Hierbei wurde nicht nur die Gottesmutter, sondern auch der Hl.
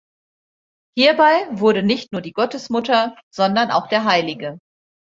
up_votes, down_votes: 1, 2